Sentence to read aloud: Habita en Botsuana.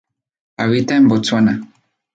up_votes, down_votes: 4, 0